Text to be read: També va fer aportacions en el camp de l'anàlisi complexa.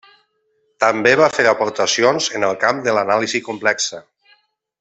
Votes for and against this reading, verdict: 0, 2, rejected